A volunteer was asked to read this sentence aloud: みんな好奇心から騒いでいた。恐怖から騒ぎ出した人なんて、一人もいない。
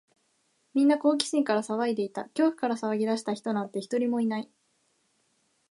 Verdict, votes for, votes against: accepted, 2, 0